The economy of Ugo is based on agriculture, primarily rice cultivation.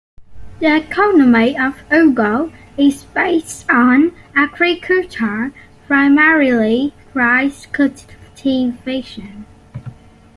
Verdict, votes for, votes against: accepted, 2, 0